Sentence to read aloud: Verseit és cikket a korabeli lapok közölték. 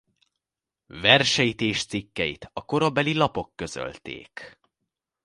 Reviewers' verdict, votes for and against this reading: rejected, 0, 2